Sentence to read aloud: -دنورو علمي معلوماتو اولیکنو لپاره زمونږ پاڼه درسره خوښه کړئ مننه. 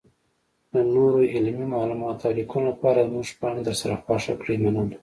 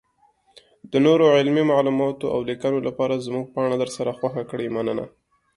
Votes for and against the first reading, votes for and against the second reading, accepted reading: 1, 2, 2, 0, second